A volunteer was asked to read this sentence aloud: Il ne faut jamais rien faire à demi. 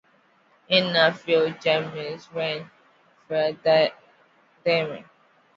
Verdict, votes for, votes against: accepted, 2, 1